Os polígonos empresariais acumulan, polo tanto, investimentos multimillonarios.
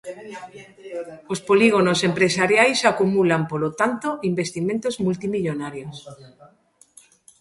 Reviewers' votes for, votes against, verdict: 1, 2, rejected